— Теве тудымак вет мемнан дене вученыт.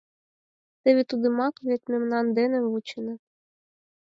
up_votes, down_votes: 4, 0